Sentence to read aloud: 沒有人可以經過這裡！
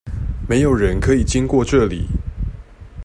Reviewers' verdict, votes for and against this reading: accepted, 2, 0